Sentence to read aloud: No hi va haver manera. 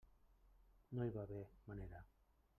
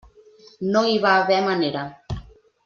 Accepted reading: second